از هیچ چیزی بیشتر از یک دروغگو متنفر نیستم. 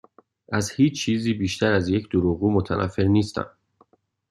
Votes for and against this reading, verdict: 2, 0, accepted